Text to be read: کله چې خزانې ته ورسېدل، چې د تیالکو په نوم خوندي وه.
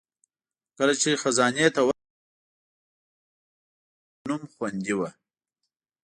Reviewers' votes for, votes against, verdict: 1, 2, rejected